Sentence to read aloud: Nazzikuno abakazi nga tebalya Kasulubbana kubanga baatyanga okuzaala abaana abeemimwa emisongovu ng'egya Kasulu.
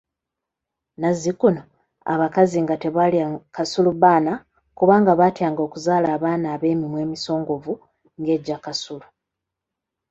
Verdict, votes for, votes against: accepted, 2, 0